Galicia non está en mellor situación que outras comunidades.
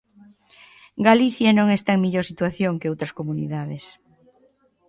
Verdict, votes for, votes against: accepted, 2, 0